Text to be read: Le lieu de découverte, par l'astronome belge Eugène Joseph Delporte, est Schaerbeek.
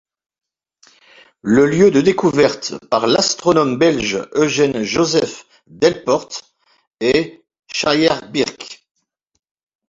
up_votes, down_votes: 1, 2